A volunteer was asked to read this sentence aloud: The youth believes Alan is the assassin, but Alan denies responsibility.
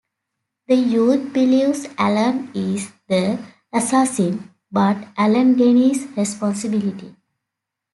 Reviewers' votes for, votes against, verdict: 1, 2, rejected